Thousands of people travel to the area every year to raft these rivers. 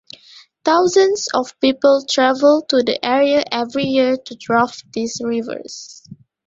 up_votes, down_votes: 1, 2